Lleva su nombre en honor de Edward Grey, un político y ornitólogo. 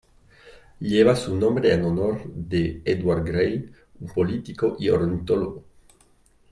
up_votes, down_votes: 2, 0